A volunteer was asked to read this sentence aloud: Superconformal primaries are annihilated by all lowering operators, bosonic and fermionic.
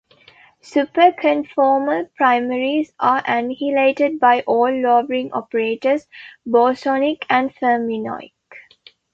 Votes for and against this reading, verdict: 1, 2, rejected